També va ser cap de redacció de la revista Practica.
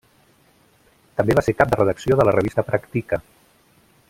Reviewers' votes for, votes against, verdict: 3, 0, accepted